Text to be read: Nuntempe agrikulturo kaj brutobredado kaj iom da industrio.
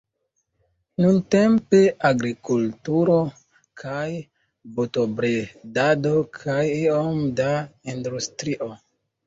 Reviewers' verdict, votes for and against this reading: rejected, 1, 2